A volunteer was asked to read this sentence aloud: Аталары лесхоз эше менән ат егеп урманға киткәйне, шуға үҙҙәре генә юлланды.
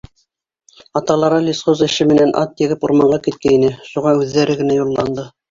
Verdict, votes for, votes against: accepted, 2, 1